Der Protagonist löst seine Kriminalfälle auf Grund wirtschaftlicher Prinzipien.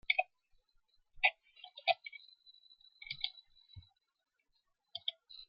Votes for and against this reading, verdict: 0, 2, rejected